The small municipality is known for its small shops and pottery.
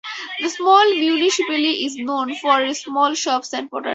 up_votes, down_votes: 2, 4